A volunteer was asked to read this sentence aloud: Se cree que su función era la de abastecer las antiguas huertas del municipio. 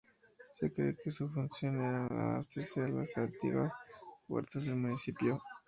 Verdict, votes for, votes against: rejected, 0, 2